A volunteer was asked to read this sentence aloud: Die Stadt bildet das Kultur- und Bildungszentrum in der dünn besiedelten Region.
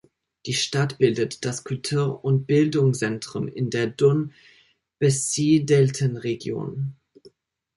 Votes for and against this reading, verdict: 0, 2, rejected